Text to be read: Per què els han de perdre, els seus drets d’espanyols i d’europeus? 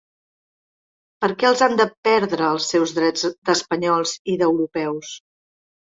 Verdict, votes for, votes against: accepted, 3, 0